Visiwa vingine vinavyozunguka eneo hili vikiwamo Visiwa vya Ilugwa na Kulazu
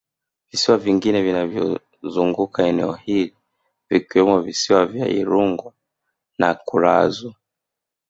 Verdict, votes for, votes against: rejected, 1, 2